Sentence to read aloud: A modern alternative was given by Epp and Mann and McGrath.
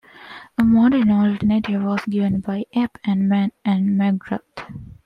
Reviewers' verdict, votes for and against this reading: rejected, 1, 2